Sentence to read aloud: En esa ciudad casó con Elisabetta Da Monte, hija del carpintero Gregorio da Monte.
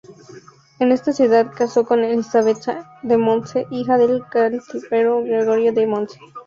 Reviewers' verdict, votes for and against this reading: rejected, 0, 2